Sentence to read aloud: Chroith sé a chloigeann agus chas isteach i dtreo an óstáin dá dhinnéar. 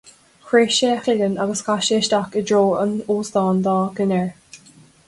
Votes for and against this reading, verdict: 2, 0, accepted